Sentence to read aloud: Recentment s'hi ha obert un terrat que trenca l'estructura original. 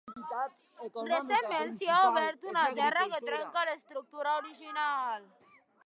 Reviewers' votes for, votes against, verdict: 0, 2, rejected